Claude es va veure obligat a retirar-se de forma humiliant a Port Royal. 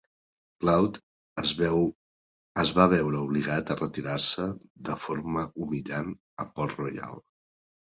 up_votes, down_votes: 0, 2